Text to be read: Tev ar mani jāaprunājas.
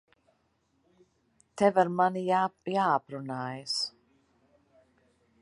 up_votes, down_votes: 0, 2